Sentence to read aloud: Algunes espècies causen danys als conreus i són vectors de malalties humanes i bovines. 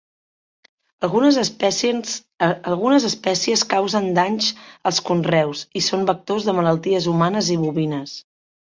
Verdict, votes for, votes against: rejected, 1, 2